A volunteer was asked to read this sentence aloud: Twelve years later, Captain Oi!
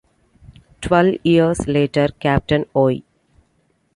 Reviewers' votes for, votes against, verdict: 0, 2, rejected